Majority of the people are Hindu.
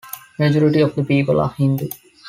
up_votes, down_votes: 2, 0